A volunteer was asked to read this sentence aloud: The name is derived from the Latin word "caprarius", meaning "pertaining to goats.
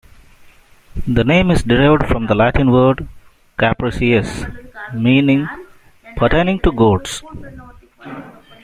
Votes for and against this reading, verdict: 2, 0, accepted